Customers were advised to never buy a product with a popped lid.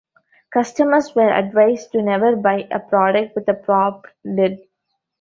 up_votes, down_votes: 0, 2